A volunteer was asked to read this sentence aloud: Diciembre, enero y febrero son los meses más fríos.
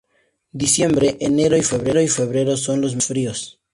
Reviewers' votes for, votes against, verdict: 0, 2, rejected